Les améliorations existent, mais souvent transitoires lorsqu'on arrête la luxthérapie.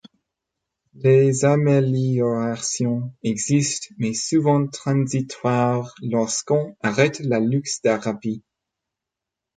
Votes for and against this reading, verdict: 2, 0, accepted